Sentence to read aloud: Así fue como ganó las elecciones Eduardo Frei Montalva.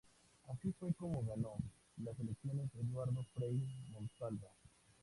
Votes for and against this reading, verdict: 2, 2, rejected